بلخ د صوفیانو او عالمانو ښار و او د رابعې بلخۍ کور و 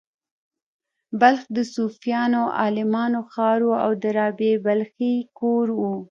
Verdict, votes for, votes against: rejected, 1, 2